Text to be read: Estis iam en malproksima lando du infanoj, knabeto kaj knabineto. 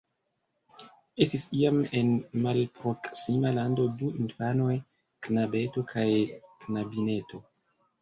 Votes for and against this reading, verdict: 2, 0, accepted